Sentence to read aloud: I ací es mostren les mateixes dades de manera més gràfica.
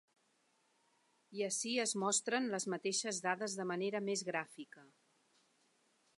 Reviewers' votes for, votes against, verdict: 4, 0, accepted